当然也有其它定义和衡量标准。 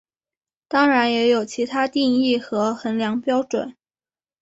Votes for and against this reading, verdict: 3, 0, accepted